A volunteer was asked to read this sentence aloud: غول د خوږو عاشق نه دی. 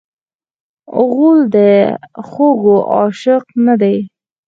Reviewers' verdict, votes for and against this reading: accepted, 4, 0